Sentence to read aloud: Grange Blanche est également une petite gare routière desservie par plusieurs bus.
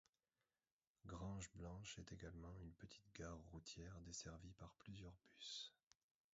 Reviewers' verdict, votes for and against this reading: rejected, 1, 2